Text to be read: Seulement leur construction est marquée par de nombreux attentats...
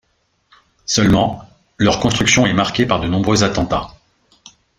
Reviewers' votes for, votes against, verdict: 2, 0, accepted